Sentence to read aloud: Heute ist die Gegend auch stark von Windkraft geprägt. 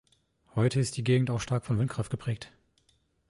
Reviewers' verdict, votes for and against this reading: accepted, 2, 0